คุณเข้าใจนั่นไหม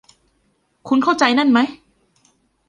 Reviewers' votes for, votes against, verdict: 2, 1, accepted